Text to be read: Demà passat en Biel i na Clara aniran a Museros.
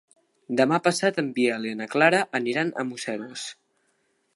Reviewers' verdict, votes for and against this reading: accepted, 2, 0